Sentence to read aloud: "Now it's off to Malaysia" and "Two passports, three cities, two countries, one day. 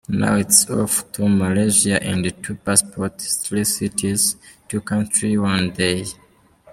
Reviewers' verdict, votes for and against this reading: accepted, 2, 1